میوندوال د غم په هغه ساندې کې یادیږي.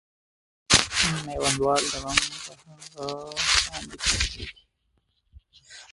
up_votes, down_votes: 1, 2